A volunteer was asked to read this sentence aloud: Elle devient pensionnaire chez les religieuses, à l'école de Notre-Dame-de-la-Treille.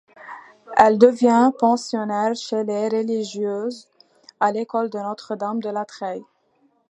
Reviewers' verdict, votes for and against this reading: accepted, 2, 0